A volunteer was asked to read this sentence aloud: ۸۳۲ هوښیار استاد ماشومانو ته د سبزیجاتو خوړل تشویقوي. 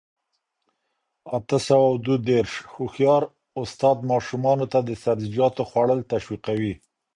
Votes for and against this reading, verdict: 0, 2, rejected